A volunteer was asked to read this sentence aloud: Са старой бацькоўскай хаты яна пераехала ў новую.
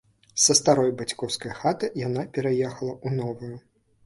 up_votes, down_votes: 2, 1